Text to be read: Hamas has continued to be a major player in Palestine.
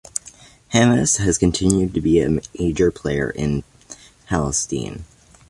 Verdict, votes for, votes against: accepted, 2, 1